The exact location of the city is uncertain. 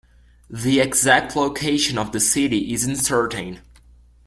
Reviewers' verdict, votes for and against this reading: rejected, 1, 2